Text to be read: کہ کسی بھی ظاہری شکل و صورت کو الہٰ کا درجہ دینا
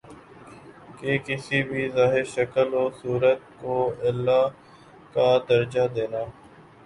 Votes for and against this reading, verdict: 2, 0, accepted